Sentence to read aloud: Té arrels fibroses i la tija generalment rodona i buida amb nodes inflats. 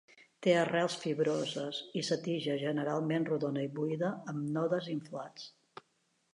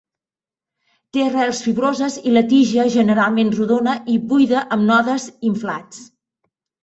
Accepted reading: second